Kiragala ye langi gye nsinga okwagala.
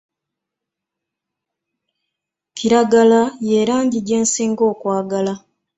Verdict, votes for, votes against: accepted, 3, 0